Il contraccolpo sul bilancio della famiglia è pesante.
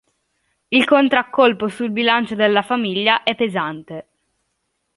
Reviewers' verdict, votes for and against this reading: accepted, 2, 0